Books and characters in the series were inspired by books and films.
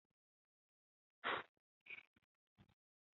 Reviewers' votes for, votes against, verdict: 0, 2, rejected